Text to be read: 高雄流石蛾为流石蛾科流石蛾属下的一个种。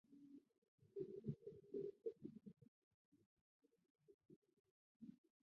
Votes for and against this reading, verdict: 0, 2, rejected